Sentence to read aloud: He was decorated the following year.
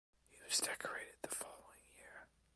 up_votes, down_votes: 2, 0